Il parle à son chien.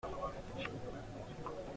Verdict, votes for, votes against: rejected, 0, 2